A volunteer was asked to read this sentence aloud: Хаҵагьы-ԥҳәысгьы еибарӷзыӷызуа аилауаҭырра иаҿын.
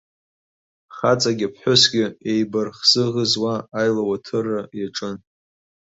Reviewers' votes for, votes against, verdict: 2, 0, accepted